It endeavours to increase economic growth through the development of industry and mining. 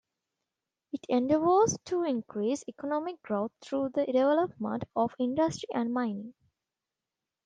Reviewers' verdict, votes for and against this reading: accepted, 2, 0